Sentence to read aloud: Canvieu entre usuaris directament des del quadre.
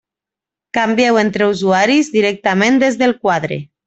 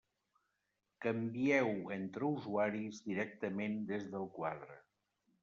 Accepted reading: first